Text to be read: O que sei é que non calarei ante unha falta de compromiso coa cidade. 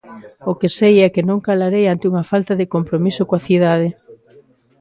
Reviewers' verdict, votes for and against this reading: accepted, 2, 0